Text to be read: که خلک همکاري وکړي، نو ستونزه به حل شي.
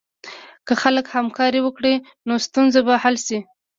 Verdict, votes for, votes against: accepted, 3, 0